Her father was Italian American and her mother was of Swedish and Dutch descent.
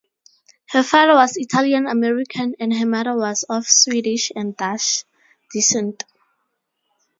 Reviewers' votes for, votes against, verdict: 0, 2, rejected